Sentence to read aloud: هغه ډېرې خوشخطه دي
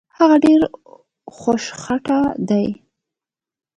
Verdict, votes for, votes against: accepted, 2, 1